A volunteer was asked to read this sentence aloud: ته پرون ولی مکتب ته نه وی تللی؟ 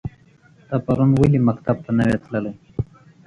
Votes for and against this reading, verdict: 2, 0, accepted